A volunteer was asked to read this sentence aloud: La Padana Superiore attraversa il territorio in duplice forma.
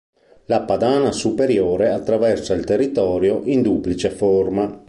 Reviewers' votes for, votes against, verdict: 2, 0, accepted